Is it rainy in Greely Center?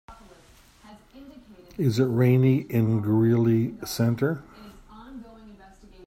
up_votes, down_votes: 0, 2